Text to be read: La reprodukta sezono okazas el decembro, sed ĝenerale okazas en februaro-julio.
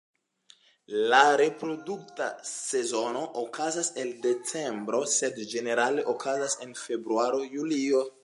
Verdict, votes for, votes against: accepted, 2, 1